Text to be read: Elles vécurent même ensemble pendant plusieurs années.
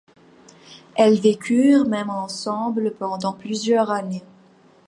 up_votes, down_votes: 1, 2